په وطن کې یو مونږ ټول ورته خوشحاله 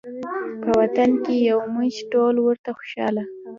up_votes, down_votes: 1, 2